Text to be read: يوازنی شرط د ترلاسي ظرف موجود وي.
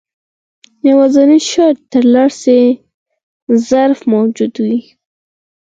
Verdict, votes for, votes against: rejected, 0, 4